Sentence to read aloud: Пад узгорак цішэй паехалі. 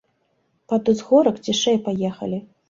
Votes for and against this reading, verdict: 2, 0, accepted